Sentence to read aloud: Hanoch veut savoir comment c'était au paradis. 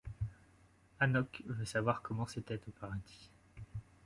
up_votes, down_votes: 2, 1